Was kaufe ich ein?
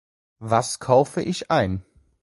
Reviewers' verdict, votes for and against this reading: accepted, 2, 0